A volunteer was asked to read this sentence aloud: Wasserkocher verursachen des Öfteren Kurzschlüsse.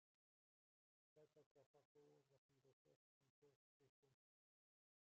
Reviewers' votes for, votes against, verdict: 0, 2, rejected